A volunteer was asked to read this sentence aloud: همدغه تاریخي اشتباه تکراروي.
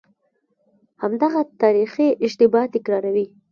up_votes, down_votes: 1, 2